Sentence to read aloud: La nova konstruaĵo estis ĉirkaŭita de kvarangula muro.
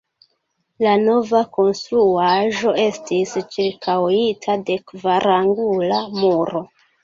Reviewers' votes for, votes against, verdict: 0, 2, rejected